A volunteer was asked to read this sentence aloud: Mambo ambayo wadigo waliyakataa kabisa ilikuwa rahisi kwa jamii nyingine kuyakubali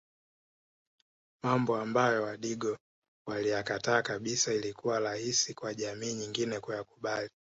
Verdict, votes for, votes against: rejected, 0, 2